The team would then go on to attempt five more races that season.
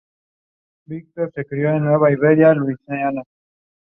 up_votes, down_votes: 0, 2